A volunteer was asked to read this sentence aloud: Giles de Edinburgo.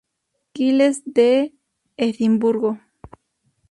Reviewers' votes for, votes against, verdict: 2, 2, rejected